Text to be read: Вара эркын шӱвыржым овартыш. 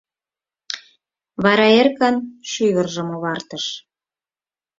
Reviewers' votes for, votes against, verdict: 4, 0, accepted